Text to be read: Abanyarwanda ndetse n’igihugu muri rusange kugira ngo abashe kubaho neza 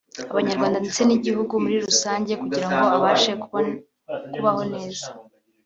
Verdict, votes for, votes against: rejected, 1, 2